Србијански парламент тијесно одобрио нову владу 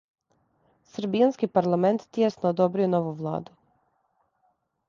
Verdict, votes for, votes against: accepted, 2, 0